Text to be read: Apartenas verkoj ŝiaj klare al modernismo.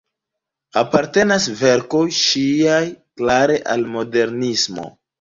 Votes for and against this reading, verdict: 2, 1, accepted